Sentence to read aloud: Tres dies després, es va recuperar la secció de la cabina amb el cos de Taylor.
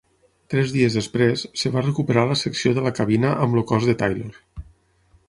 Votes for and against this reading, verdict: 6, 3, accepted